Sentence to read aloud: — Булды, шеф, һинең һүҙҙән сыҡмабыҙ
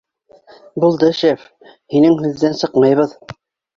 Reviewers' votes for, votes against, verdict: 1, 2, rejected